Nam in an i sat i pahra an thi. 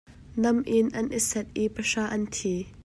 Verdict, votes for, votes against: accepted, 2, 0